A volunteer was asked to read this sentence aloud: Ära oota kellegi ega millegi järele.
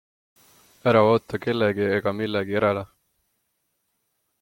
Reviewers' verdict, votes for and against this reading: accepted, 2, 0